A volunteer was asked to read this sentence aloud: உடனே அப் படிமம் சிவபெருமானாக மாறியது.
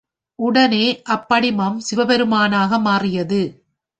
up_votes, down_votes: 2, 0